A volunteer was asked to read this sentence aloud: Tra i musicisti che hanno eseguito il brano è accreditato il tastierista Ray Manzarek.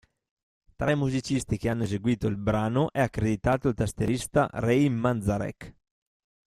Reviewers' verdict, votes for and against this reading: accepted, 2, 0